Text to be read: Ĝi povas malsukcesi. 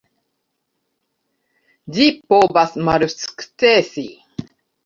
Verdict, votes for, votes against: rejected, 0, 2